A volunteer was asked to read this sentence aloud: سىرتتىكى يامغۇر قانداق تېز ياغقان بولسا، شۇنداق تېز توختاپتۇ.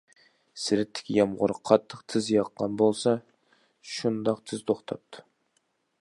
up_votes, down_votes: 0, 2